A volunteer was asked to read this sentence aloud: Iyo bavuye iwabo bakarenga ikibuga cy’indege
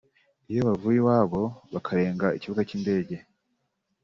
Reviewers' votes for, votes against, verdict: 3, 0, accepted